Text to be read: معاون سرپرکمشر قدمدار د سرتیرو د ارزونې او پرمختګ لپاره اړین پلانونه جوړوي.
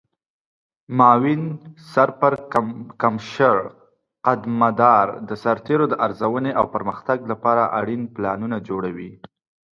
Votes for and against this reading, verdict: 2, 0, accepted